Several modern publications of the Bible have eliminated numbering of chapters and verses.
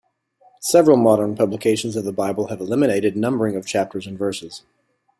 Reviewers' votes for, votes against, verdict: 2, 0, accepted